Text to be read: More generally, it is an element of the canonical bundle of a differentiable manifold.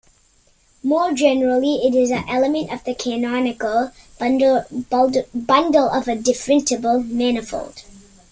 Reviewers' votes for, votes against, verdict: 0, 2, rejected